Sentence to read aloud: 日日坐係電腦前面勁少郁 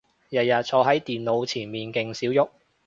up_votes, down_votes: 0, 2